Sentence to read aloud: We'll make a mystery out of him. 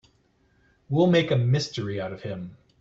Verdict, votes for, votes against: accepted, 2, 0